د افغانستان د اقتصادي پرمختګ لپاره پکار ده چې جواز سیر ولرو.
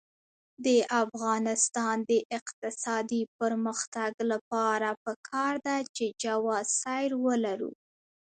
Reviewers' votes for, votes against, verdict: 2, 1, accepted